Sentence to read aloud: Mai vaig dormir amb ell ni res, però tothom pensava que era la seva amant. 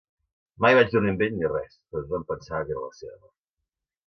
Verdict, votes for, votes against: rejected, 1, 2